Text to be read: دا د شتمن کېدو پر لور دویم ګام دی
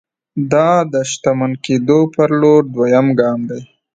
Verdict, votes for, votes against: accepted, 2, 0